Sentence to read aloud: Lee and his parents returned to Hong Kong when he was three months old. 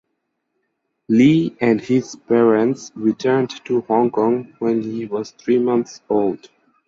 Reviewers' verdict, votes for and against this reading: rejected, 2, 2